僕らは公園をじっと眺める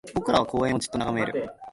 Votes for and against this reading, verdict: 2, 1, accepted